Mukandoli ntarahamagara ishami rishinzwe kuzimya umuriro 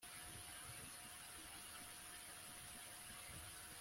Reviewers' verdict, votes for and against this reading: rejected, 1, 2